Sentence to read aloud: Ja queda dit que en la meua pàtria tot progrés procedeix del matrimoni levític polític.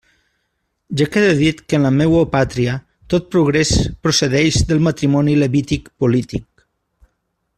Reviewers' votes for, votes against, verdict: 2, 0, accepted